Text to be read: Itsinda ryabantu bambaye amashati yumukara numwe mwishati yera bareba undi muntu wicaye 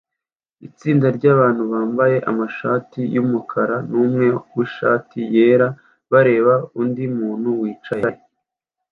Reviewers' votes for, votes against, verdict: 2, 0, accepted